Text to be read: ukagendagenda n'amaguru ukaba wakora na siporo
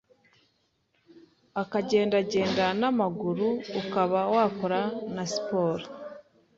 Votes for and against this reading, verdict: 1, 2, rejected